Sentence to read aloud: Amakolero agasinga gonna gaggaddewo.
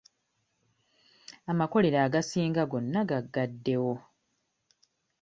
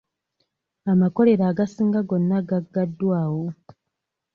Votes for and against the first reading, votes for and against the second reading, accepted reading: 2, 0, 0, 2, first